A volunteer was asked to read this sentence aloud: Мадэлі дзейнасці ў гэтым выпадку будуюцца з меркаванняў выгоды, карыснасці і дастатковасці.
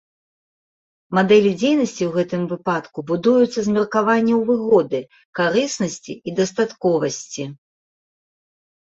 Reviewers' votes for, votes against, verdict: 2, 0, accepted